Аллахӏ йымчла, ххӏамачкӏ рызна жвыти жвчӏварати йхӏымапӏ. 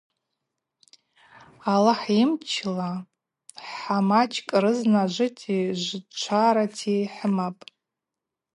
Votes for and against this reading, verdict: 0, 2, rejected